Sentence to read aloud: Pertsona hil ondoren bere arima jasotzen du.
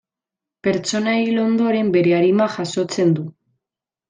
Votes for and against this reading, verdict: 2, 0, accepted